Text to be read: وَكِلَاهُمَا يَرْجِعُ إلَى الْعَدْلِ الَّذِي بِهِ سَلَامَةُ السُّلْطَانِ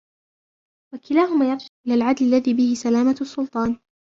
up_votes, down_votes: 1, 3